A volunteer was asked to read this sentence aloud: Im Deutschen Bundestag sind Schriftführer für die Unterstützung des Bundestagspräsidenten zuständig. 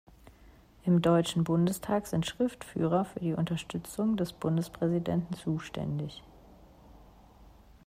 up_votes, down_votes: 0, 2